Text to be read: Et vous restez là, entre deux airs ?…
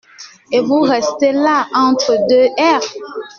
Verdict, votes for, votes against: rejected, 1, 2